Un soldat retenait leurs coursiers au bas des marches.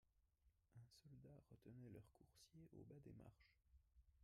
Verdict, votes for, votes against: rejected, 0, 2